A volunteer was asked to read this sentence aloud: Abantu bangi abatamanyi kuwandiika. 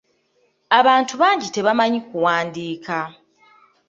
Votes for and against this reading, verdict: 0, 2, rejected